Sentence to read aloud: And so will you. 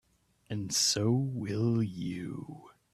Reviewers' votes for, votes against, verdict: 2, 0, accepted